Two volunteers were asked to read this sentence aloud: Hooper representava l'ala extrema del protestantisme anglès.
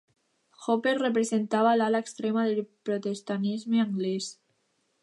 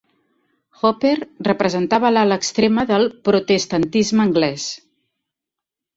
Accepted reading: second